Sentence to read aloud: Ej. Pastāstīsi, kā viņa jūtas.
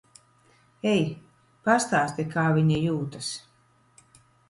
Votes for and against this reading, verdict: 1, 2, rejected